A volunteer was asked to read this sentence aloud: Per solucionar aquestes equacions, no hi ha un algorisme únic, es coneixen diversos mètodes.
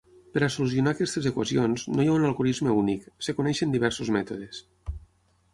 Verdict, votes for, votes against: rejected, 3, 6